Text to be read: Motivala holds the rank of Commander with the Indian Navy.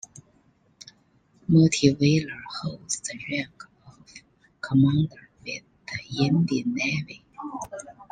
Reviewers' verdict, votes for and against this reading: rejected, 0, 2